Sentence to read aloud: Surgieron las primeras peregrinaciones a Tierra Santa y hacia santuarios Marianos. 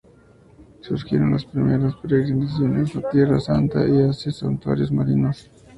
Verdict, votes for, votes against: rejected, 0, 2